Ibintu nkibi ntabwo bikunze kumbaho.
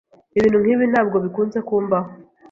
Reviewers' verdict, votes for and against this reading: accepted, 2, 0